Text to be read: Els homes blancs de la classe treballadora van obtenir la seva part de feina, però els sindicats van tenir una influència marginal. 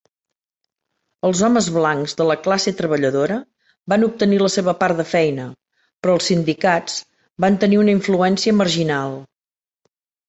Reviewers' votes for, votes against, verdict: 4, 1, accepted